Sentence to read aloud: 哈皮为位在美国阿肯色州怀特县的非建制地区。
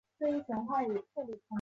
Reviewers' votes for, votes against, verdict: 0, 2, rejected